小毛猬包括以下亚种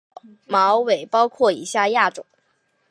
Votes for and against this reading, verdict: 1, 2, rejected